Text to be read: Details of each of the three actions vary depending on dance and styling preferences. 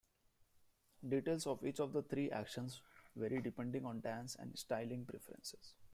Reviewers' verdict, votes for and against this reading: accepted, 2, 1